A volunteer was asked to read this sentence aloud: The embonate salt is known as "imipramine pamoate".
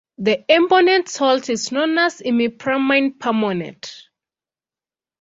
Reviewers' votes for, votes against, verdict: 0, 2, rejected